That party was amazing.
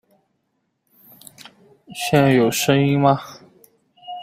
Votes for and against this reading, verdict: 0, 3, rejected